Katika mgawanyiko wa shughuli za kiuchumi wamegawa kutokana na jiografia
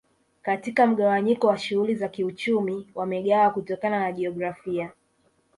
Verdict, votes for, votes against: accepted, 2, 0